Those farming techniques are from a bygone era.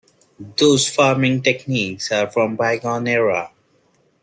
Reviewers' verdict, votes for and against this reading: rejected, 0, 2